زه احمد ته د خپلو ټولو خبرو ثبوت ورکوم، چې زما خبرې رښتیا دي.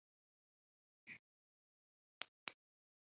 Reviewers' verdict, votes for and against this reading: rejected, 1, 2